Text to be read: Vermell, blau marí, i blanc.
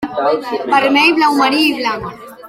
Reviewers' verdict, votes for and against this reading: accepted, 2, 1